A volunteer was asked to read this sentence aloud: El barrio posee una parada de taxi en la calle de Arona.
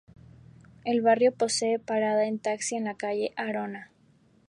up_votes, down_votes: 0, 2